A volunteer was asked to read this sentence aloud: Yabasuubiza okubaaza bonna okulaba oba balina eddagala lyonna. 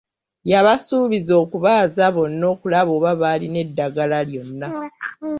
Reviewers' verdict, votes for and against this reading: rejected, 1, 2